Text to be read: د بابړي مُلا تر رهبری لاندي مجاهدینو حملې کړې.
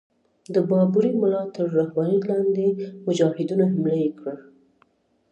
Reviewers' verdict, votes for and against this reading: rejected, 1, 2